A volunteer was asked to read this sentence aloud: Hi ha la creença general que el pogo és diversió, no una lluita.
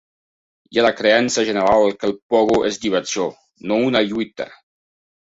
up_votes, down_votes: 2, 1